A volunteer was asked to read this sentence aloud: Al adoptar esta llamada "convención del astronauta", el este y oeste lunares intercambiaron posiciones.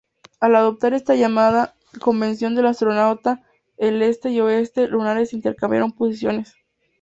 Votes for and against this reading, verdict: 0, 2, rejected